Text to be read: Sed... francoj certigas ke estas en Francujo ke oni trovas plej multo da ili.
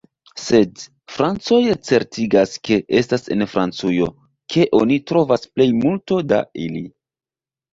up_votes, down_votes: 2, 0